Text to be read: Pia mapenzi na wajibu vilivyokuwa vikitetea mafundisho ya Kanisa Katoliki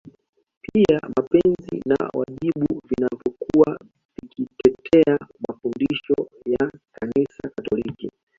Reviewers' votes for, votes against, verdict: 2, 1, accepted